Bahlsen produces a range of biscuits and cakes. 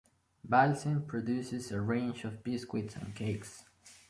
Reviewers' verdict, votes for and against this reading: accepted, 2, 1